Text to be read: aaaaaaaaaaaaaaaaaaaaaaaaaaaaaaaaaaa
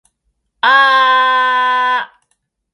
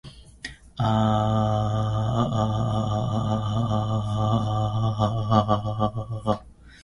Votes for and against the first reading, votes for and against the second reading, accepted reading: 2, 0, 0, 2, first